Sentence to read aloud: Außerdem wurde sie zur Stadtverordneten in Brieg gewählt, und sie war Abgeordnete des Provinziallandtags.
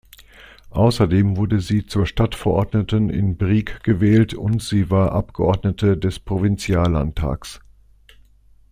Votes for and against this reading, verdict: 2, 0, accepted